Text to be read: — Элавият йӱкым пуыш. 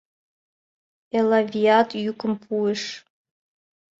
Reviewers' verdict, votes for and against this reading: accepted, 2, 0